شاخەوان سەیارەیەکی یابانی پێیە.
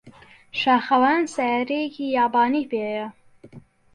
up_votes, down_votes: 2, 0